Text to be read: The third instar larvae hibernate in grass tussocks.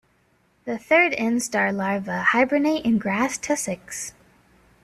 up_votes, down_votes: 1, 2